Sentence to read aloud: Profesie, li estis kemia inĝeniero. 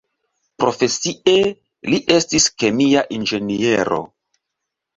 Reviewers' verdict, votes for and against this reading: accepted, 2, 0